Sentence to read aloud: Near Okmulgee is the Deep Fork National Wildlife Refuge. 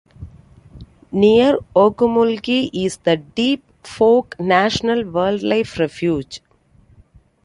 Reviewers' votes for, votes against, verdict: 2, 0, accepted